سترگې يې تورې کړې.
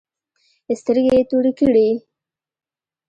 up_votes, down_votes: 2, 0